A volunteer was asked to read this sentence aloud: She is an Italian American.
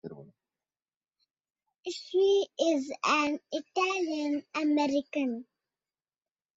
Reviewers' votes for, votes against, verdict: 2, 1, accepted